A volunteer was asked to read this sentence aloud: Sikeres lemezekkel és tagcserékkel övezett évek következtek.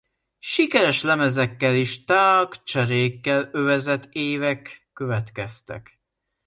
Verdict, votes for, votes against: rejected, 0, 2